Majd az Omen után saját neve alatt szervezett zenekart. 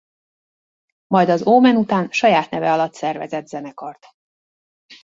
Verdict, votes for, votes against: accepted, 2, 0